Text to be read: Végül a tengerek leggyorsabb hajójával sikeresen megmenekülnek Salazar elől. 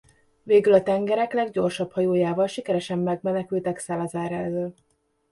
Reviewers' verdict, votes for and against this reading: rejected, 1, 2